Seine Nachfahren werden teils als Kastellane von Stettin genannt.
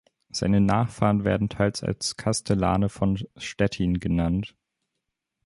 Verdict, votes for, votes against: rejected, 0, 2